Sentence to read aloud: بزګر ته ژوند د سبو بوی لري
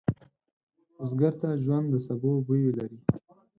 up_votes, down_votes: 4, 0